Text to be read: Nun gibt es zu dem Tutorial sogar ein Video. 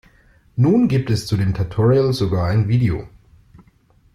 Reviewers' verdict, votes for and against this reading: accepted, 2, 0